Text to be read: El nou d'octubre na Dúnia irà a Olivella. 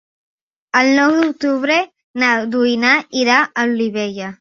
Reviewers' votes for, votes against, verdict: 1, 2, rejected